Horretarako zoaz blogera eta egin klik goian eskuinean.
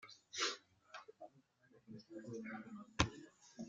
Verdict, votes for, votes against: rejected, 0, 2